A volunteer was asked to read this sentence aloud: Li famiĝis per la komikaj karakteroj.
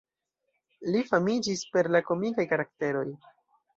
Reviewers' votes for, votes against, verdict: 2, 0, accepted